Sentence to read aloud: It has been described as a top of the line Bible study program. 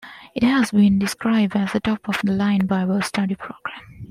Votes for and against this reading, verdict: 2, 1, accepted